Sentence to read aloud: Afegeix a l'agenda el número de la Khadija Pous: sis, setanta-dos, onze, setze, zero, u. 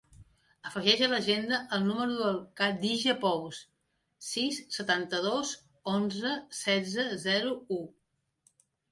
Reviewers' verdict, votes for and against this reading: rejected, 0, 2